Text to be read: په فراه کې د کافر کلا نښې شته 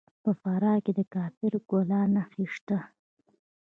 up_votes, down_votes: 2, 3